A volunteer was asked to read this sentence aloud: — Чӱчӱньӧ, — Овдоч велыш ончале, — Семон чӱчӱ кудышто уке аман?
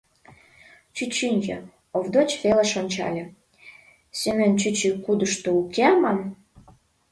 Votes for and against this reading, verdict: 0, 2, rejected